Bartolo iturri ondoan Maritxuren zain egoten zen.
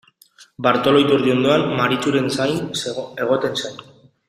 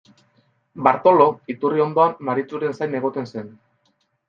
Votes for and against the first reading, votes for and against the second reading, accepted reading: 1, 2, 2, 0, second